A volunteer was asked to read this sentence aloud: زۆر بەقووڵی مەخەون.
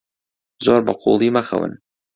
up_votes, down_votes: 2, 0